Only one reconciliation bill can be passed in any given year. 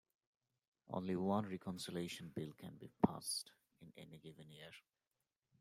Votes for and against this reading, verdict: 1, 2, rejected